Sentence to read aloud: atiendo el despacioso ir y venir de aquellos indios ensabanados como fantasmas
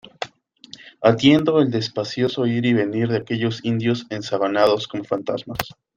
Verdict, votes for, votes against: accepted, 2, 0